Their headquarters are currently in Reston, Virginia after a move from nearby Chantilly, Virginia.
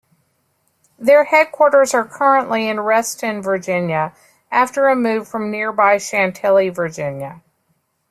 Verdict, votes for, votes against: accepted, 2, 0